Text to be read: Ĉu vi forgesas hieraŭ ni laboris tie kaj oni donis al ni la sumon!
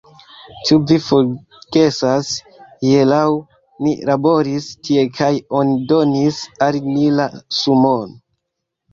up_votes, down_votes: 0, 2